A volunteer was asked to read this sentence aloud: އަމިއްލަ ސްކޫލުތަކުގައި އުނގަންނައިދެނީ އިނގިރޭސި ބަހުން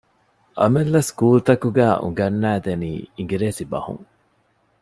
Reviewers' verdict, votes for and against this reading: accepted, 2, 0